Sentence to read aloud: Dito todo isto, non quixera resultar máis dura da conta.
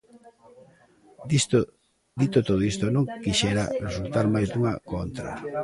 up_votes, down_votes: 0, 2